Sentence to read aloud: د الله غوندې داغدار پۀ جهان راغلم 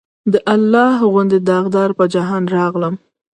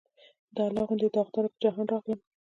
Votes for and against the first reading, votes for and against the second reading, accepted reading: 1, 2, 2, 0, second